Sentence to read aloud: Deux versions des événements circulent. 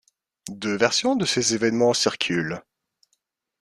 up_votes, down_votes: 0, 3